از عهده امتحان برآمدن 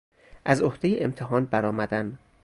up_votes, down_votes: 0, 2